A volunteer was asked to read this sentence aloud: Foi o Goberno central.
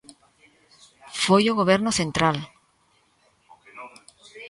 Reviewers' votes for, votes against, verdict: 0, 2, rejected